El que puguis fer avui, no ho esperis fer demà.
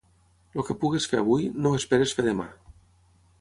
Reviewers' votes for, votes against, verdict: 0, 3, rejected